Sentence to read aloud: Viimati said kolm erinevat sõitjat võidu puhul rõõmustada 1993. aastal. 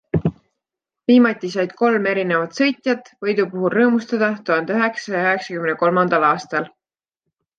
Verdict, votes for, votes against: rejected, 0, 2